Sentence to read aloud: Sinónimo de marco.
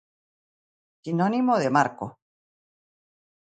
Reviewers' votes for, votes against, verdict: 2, 0, accepted